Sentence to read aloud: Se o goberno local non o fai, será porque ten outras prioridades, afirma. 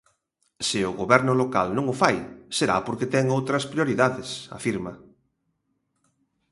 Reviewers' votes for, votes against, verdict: 2, 0, accepted